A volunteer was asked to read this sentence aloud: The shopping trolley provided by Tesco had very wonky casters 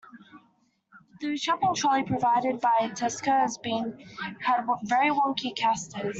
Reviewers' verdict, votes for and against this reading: rejected, 1, 2